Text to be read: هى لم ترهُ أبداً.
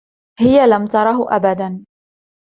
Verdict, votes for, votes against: accepted, 2, 0